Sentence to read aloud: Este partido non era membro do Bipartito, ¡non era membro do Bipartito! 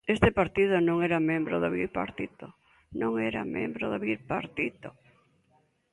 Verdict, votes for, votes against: accepted, 2, 0